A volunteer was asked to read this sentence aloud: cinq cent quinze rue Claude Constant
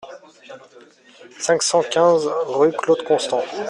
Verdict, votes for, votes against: accepted, 2, 0